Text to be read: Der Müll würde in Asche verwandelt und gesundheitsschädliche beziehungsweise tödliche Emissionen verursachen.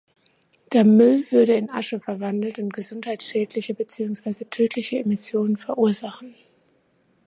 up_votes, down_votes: 2, 1